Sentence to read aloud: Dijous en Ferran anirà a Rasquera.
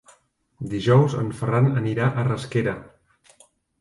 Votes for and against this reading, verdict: 2, 1, accepted